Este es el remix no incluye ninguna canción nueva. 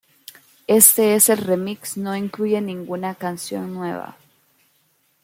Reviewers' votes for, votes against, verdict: 2, 0, accepted